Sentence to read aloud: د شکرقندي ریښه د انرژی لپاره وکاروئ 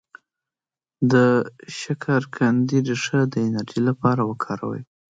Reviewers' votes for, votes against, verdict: 2, 0, accepted